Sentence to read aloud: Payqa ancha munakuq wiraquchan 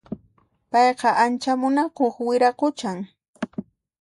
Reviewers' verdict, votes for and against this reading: accepted, 2, 0